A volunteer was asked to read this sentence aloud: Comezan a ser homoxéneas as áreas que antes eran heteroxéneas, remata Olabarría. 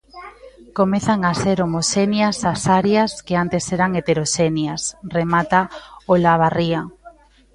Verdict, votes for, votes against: rejected, 0, 2